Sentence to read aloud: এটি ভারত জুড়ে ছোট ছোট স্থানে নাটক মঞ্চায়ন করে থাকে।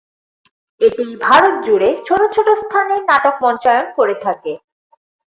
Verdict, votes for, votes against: rejected, 2, 2